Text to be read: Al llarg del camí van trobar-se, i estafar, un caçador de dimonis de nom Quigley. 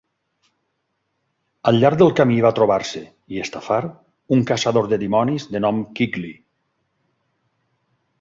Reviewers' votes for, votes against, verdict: 0, 4, rejected